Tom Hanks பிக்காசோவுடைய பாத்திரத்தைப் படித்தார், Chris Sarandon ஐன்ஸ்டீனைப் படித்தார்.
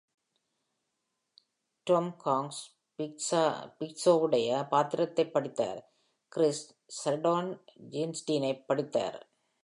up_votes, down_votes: 1, 2